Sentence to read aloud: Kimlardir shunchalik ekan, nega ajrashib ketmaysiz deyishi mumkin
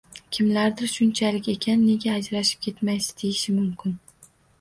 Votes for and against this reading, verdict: 2, 0, accepted